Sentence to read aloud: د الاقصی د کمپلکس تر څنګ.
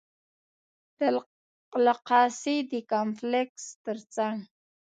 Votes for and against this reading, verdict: 1, 2, rejected